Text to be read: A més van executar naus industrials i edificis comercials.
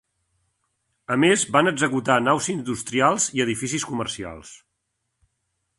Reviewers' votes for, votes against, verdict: 6, 0, accepted